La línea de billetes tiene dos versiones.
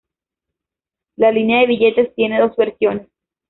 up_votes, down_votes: 0, 2